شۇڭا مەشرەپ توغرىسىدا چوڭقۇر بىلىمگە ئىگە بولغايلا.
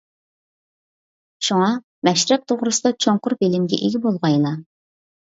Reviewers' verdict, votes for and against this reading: accepted, 2, 0